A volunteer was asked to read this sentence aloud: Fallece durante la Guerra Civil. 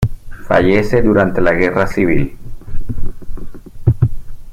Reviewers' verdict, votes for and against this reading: accepted, 2, 0